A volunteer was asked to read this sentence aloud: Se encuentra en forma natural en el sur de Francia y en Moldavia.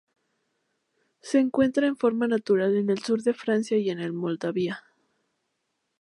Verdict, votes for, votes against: rejected, 0, 2